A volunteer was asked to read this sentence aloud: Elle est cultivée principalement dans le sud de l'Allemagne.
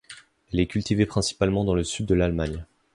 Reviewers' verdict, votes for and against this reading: rejected, 1, 2